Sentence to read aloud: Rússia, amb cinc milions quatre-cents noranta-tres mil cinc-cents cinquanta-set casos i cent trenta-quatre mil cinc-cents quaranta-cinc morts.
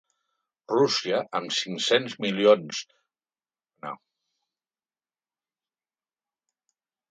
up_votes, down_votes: 0, 2